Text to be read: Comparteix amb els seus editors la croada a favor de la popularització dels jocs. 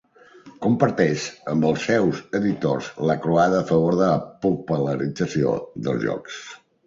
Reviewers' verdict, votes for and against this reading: rejected, 1, 2